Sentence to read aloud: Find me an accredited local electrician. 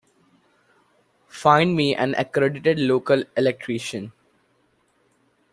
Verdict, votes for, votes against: accepted, 2, 0